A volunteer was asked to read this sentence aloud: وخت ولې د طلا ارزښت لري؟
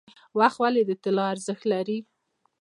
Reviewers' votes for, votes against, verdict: 2, 0, accepted